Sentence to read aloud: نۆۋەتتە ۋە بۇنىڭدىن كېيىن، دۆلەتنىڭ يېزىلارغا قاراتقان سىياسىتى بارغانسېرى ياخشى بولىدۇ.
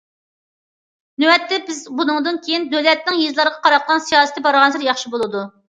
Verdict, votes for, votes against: rejected, 0, 2